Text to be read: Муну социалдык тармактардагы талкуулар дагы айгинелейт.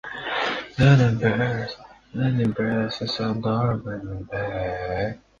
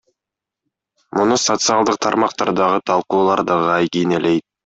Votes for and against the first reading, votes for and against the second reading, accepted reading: 0, 2, 2, 0, second